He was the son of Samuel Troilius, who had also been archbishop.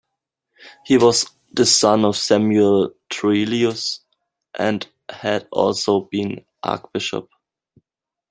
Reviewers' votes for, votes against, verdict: 0, 2, rejected